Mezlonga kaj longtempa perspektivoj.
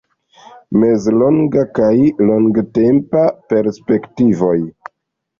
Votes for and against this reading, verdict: 2, 1, accepted